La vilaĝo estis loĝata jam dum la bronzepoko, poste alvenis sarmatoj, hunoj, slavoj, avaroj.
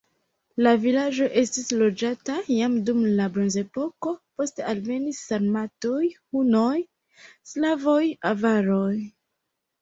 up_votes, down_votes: 0, 2